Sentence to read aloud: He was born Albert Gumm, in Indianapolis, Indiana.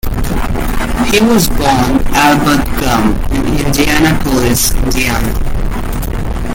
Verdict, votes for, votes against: rejected, 0, 2